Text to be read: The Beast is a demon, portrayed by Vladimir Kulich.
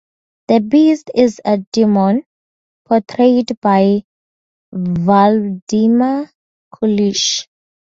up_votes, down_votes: 2, 2